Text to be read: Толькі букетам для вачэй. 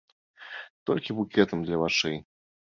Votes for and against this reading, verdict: 2, 0, accepted